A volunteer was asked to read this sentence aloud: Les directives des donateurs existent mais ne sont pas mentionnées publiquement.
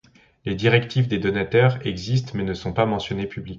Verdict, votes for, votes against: rejected, 1, 2